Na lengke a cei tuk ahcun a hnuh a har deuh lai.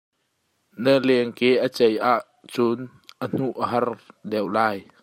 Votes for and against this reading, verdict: 1, 2, rejected